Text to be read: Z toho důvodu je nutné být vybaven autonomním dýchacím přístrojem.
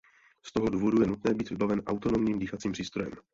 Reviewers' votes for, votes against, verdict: 0, 2, rejected